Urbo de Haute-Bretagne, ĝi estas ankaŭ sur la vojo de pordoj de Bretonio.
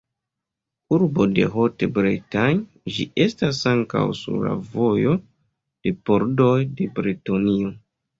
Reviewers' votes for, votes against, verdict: 2, 0, accepted